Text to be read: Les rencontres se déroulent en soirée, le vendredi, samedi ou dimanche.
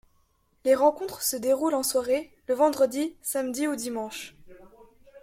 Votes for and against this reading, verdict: 2, 0, accepted